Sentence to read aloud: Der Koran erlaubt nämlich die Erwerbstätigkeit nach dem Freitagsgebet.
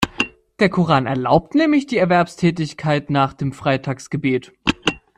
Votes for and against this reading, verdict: 2, 0, accepted